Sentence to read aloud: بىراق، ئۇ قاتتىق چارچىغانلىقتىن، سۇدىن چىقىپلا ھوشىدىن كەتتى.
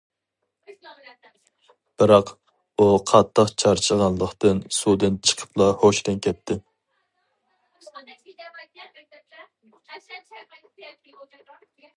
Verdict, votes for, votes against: rejected, 0, 2